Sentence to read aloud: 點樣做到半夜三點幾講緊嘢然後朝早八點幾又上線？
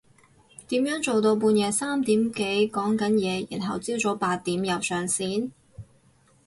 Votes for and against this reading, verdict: 2, 2, rejected